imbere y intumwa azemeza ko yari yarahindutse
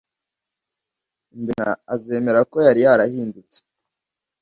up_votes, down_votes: 0, 2